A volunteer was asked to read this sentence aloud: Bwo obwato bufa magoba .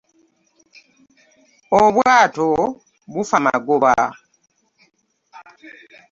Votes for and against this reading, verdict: 0, 3, rejected